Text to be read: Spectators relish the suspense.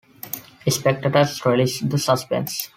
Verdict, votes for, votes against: accepted, 2, 0